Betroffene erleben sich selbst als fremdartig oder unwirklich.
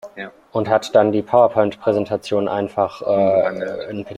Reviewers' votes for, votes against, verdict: 0, 2, rejected